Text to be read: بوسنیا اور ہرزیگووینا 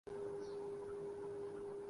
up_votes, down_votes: 6, 5